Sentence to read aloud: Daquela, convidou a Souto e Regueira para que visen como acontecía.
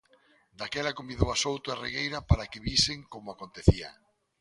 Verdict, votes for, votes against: accepted, 2, 0